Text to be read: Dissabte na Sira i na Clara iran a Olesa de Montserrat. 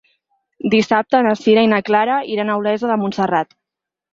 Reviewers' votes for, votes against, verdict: 4, 0, accepted